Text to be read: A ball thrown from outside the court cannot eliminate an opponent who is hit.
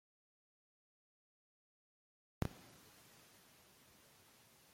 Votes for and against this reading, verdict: 0, 2, rejected